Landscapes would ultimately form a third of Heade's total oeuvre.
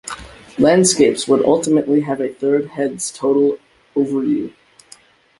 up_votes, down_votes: 0, 2